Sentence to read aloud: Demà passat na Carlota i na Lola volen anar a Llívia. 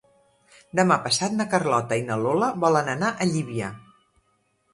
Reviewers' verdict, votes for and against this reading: accepted, 4, 0